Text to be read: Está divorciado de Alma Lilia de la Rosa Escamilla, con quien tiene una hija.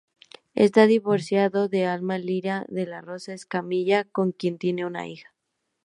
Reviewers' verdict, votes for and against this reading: accepted, 2, 0